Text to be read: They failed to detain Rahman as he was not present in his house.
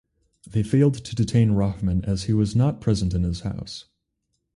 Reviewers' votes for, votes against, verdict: 4, 0, accepted